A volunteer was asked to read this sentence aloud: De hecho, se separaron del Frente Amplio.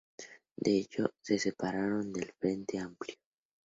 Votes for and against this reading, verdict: 2, 0, accepted